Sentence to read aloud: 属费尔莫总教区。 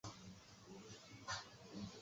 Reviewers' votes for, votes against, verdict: 0, 2, rejected